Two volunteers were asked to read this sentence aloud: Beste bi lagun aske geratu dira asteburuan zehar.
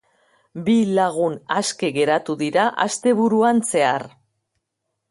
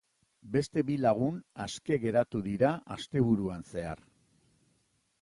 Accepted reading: second